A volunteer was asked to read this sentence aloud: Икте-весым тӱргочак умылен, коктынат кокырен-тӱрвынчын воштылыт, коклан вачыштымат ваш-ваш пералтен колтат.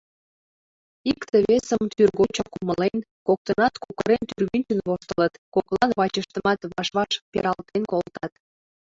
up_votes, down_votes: 2, 0